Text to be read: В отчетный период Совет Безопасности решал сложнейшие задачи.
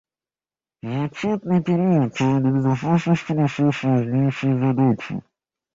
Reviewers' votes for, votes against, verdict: 0, 2, rejected